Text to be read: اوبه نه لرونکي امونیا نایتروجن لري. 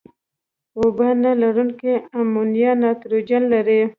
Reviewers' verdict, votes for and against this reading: accepted, 2, 0